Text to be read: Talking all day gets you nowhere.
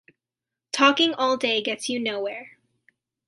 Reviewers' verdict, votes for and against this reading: accepted, 2, 0